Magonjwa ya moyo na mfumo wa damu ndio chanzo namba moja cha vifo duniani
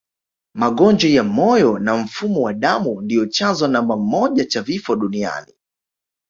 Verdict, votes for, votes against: accepted, 2, 1